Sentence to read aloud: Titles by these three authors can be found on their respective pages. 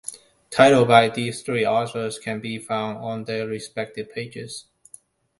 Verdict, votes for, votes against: rejected, 1, 2